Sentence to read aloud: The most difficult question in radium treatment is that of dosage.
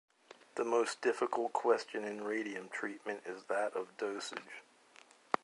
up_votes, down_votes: 0, 2